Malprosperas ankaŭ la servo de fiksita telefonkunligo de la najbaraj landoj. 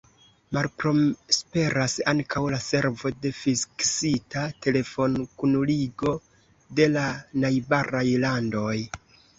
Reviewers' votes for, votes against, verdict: 0, 2, rejected